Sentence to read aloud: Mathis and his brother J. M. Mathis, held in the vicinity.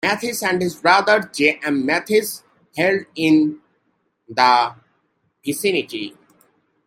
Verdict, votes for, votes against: rejected, 0, 2